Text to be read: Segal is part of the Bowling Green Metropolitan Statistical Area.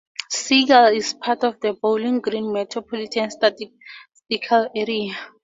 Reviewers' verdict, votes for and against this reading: accepted, 2, 0